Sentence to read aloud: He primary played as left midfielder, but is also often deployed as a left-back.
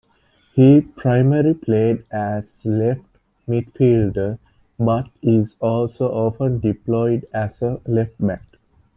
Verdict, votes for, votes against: accepted, 2, 1